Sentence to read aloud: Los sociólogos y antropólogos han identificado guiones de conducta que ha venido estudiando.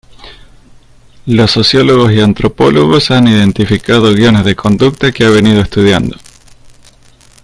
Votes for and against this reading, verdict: 2, 0, accepted